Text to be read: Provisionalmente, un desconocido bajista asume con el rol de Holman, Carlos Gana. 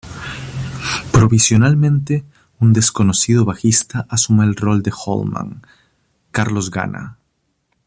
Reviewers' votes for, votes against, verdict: 1, 2, rejected